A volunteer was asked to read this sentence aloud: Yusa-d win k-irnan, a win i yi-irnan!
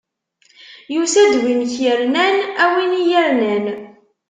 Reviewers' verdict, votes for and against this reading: accepted, 2, 0